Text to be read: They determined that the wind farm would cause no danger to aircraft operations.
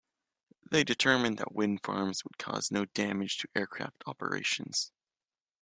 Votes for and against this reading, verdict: 1, 2, rejected